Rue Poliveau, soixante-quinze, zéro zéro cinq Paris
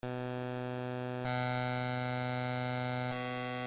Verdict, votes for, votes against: rejected, 0, 2